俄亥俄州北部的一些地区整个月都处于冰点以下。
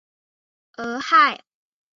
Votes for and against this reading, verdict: 1, 3, rejected